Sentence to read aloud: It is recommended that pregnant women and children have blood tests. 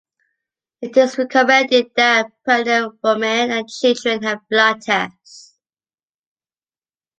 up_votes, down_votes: 2, 1